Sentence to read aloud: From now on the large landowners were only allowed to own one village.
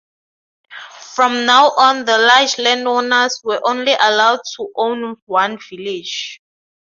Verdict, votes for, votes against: accepted, 2, 0